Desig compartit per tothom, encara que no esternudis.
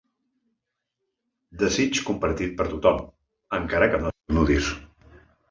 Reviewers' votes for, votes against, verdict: 0, 2, rejected